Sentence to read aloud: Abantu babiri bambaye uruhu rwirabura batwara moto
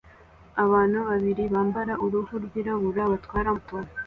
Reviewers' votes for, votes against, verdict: 0, 2, rejected